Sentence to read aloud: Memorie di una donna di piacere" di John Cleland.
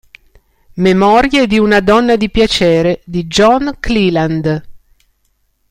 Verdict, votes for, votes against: accepted, 2, 0